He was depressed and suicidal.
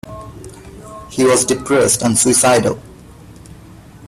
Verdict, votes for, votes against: accepted, 4, 0